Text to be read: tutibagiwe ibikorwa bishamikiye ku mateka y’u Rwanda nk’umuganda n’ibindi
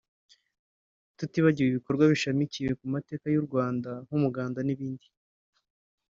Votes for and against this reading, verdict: 1, 2, rejected